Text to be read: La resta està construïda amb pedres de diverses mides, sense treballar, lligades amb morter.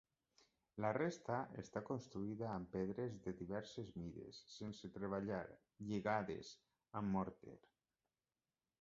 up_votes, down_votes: 0, 2